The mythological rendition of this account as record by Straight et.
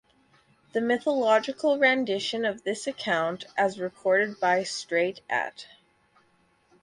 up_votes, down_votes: 4, 0